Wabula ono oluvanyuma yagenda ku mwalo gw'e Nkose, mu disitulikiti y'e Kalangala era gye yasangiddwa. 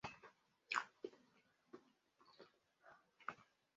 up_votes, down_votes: 0, 2